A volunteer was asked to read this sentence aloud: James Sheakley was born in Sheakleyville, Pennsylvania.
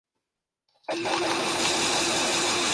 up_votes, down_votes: 0, 2